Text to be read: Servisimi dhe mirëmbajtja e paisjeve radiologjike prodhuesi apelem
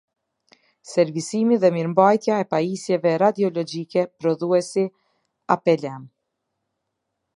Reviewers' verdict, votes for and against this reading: accepted, 3, 0